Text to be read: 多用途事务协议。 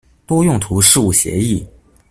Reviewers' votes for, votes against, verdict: 2, 0, accepted